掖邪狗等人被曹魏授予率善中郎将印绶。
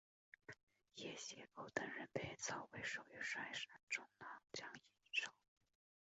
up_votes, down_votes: 0, 6